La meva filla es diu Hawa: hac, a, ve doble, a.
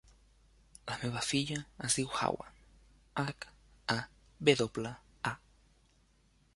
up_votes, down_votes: 3, 0